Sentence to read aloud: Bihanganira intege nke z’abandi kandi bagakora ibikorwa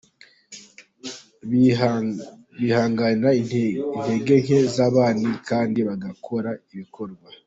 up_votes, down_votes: 0, 2